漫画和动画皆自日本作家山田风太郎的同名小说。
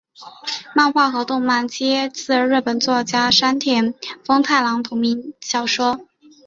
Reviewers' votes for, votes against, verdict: 2, 1, accepted